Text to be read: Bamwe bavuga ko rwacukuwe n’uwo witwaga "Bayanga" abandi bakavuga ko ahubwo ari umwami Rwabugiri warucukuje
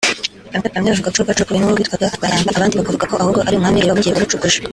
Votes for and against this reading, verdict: 0, 3, rejected